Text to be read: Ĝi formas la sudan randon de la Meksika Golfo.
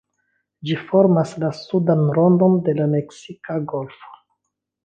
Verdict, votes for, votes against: rejected, 1, 2